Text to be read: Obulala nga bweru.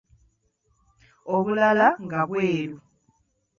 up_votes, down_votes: 2, 0